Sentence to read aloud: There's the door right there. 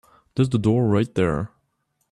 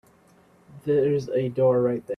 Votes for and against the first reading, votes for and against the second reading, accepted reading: 2, 0, 1, 3, first